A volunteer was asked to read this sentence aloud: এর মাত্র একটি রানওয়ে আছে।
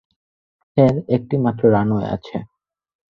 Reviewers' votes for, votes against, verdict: 0, 4, rejected